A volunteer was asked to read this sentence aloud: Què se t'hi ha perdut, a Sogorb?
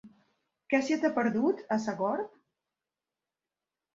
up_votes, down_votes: 1, 2